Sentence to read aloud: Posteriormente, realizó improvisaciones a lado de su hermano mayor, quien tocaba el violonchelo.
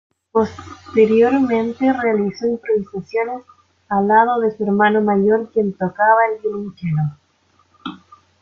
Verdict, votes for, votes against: rejected, 0, 2